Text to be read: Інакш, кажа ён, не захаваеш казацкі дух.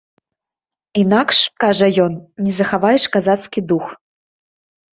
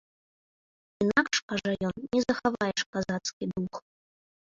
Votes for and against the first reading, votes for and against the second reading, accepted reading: 2, 0, 0, 2, first